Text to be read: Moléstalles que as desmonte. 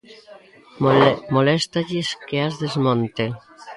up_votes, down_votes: 0, 3